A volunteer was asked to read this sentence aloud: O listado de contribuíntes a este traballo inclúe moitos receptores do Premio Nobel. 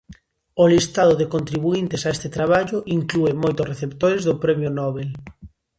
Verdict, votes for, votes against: accepted, 2, 0